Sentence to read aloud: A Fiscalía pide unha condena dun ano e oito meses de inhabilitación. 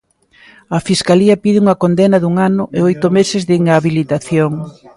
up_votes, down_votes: 2, 1